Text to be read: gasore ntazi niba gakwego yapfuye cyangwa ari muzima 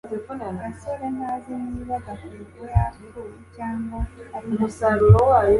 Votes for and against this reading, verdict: 0, 2, rejected